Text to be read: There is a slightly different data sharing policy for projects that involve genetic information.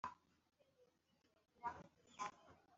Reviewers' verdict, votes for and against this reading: rejected, 0, 2